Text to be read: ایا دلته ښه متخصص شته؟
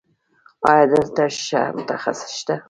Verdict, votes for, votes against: rejected, 1, 2